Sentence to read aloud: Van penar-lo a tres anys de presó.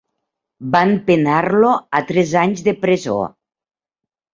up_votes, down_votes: 3, 0